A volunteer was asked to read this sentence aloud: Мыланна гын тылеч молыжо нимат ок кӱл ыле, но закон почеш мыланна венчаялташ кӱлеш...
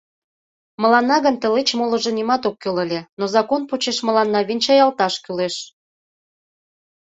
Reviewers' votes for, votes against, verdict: 2, 0, accepted